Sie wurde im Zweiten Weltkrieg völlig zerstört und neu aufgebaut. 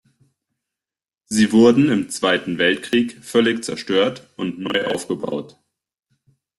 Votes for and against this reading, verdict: 0, 2, rejected